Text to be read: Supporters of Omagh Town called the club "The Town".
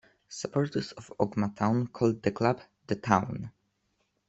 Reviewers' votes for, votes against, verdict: 1, 2, rejected